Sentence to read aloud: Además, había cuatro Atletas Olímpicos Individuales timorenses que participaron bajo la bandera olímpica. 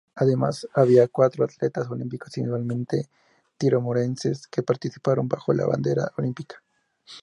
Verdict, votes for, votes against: rejected, 2, 2